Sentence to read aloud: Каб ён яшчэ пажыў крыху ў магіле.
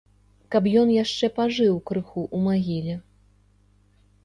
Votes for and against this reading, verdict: 0, 2, rejected